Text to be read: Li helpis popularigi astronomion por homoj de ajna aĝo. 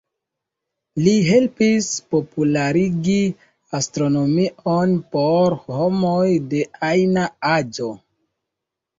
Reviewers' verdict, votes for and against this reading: rejected, 0, 2